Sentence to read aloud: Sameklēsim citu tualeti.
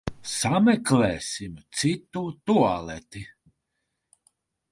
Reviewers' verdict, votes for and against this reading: accepted, 3, 0